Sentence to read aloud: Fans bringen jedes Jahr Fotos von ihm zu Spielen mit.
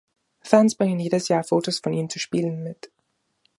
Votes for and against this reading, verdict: 2, 0, accepted